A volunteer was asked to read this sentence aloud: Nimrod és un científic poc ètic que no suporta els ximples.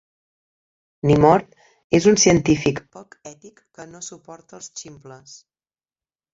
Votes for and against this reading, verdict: 0, 3, rejected